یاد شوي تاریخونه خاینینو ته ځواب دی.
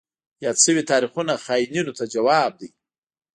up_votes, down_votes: 2, 0